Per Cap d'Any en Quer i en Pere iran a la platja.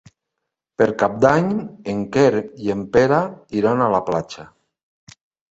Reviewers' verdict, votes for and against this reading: accepted, 3, 0